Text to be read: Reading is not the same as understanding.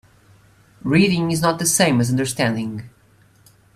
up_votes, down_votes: 2, 1